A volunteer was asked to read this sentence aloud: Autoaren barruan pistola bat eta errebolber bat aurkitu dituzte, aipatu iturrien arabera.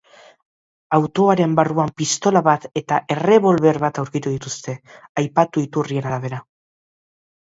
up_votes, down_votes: 2, 0